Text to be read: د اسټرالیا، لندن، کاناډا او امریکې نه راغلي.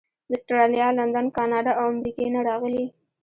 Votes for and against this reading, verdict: 0, 2, rejected